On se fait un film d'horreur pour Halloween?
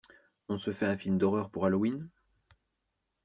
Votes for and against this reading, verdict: 2, 0, accepted